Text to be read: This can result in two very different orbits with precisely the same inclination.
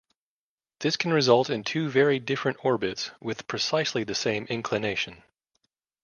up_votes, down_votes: 2, 0